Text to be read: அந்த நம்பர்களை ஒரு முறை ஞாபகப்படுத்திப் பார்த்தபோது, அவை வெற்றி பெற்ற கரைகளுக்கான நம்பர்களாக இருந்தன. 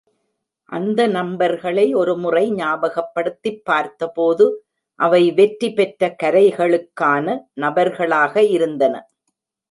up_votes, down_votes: 0, 2